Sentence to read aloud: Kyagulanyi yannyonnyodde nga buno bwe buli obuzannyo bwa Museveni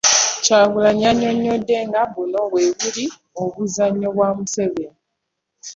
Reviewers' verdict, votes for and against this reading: accepted, 2, 0